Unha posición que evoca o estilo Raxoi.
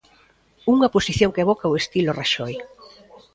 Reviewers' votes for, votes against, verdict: 0, 2, rejected